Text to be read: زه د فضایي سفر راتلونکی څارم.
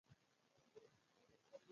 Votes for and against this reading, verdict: 0, 2, rejected